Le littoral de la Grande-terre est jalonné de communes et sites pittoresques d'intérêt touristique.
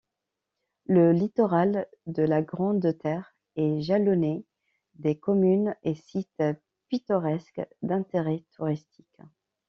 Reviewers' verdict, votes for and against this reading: rejected, 1, 2